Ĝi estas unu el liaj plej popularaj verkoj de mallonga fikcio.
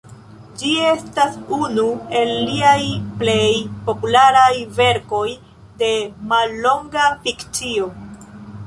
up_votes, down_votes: 3, 0